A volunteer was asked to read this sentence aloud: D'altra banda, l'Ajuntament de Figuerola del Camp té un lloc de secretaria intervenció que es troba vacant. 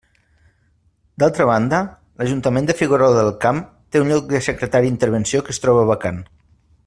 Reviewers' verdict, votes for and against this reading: accepted, 2, 0